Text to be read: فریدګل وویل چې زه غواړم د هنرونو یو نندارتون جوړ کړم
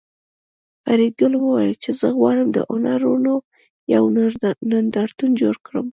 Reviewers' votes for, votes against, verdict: 2, 1, accepted